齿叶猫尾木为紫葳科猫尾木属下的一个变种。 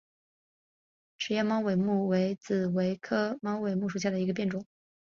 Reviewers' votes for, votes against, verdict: 5, 0, accepted